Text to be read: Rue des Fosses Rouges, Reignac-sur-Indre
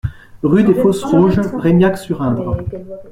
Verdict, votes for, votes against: rejected, 0, 2